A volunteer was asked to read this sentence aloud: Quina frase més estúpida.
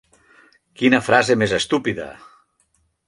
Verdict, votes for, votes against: accepted, 3, 0